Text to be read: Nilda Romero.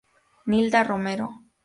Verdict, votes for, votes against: accepted, 4, 0